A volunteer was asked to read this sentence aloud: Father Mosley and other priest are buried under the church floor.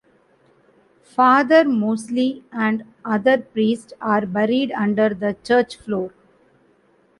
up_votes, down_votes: 2, 1